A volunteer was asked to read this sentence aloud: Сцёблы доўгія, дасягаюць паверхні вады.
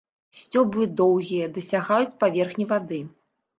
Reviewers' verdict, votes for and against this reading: accepted, 2, 0